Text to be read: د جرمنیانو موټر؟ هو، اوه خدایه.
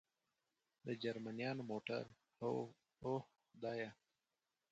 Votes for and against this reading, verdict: 2, 4, rejected